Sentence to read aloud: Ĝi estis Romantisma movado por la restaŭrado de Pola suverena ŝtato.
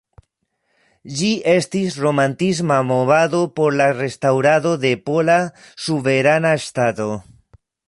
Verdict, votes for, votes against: rejected, 1, 2